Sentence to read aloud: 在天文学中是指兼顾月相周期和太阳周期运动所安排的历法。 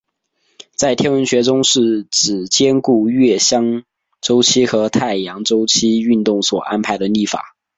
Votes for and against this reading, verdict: 3, 0, accepted